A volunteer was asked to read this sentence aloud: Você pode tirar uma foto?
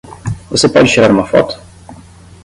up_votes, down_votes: 5, 5